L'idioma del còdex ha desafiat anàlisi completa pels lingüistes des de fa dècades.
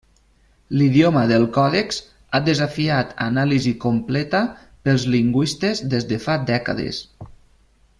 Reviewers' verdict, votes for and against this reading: accepted, 3, 0